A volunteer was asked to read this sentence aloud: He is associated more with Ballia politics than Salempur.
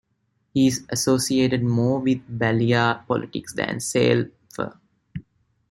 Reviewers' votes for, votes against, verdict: 0, 2, rejected